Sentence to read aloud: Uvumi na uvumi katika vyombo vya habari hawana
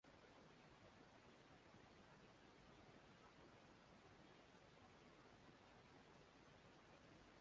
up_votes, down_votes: 0, 2